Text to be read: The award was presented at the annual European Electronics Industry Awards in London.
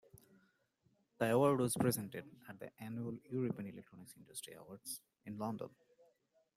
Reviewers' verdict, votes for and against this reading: rejected, 0, 2